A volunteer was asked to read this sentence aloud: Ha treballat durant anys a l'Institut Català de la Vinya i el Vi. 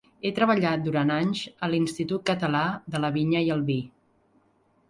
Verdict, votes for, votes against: rejected, 1, 2